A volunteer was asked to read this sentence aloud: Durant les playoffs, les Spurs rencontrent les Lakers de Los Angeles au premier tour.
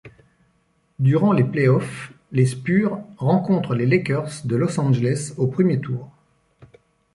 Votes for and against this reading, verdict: 1, 2, rejected